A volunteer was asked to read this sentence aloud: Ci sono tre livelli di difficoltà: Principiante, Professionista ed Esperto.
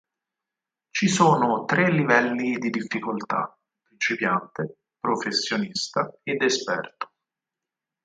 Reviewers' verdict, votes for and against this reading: rejected, 2, 4